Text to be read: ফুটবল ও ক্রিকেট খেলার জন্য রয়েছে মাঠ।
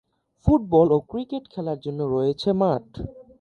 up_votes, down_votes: 3, 0